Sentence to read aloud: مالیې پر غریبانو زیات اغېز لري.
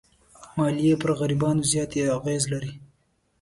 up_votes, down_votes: 2, 0